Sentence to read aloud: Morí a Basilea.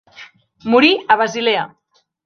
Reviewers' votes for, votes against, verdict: 4, 0, accepted